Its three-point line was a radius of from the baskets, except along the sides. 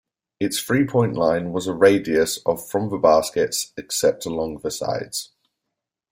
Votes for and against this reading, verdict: 1, 2, rejected